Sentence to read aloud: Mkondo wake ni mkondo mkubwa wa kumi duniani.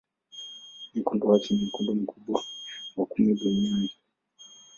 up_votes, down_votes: 10, 11